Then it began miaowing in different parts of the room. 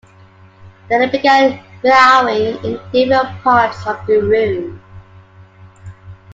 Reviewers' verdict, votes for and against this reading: accepted, 2, 1